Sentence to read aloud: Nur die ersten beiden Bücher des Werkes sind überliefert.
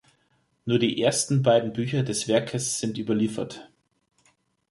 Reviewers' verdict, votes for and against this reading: accepted, 3, 0